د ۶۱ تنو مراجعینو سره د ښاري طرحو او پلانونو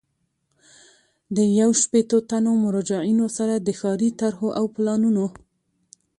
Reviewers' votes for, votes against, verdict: 0, 2, rejected